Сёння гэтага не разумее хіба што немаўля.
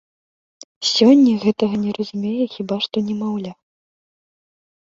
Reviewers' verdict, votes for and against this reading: rejected, 1, 2